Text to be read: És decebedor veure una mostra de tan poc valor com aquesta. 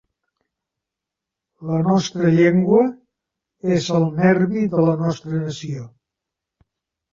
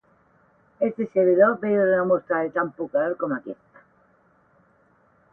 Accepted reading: second